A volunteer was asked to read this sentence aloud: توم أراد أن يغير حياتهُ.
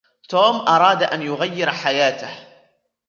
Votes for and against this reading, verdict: 2, 0, accepted